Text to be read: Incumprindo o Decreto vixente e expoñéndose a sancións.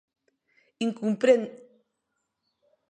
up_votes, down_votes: 0, 2